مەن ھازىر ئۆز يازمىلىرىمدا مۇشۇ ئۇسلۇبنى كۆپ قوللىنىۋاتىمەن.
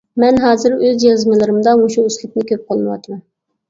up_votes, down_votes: 0, 2